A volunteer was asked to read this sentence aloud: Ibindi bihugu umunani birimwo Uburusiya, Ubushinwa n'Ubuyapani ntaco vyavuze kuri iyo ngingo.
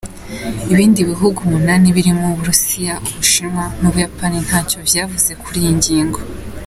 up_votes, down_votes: 2, 1